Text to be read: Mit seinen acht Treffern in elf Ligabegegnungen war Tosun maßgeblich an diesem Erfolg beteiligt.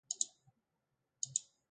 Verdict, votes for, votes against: rejected, 0, 2